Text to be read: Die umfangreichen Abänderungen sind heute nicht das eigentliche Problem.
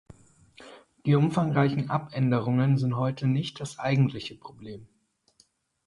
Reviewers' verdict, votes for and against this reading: accepted, 6, 0